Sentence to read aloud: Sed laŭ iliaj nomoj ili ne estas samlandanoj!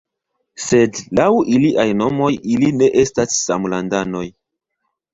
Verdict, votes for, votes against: accepted, 2, 0